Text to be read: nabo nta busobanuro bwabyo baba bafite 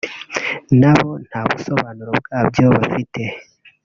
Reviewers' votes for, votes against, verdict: 1, 2, rejected